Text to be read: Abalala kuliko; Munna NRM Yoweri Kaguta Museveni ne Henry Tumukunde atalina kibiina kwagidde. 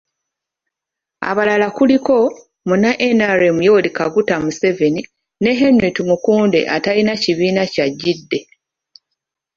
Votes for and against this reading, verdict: 1, 2, rejected